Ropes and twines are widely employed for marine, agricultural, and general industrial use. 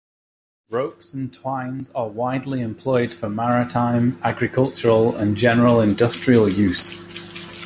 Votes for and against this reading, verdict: 0, 2, rejected